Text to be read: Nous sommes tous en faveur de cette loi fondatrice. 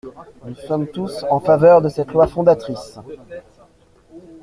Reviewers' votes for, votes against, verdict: 2, 0, accepted